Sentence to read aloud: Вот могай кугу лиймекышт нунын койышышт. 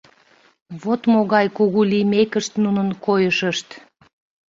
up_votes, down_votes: 2, 0